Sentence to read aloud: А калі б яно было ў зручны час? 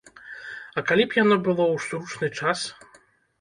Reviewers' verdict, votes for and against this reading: rejected, 1, 2